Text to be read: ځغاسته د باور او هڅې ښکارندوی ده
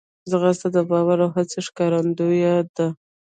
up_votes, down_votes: 1, 2